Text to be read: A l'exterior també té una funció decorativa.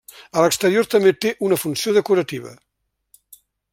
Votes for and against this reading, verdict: 3, 0, accepted